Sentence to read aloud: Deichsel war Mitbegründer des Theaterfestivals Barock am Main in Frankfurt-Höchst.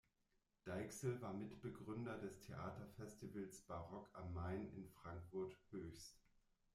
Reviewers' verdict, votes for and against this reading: rejected, 1, 2